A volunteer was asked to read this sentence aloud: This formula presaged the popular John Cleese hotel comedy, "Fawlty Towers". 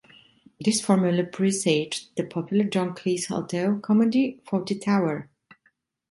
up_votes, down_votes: 0, 2